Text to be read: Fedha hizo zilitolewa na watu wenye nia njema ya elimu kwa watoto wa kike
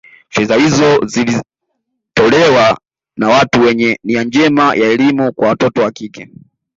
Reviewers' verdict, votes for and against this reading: rejected, 0, 2